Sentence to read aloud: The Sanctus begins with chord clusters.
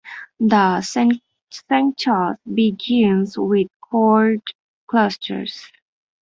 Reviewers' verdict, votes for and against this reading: rejected, 0, 2